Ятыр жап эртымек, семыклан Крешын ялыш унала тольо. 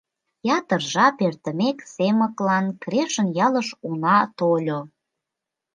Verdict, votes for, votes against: rejected, 1, 2